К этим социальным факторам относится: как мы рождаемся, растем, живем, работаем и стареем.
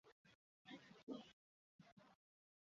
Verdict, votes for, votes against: rejected, 0, 2